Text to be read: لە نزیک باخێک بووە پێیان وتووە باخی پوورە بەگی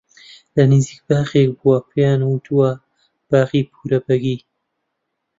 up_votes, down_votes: 2, 0